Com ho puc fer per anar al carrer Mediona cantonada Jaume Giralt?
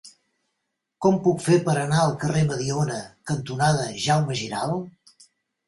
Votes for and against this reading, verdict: 0, 2, rejected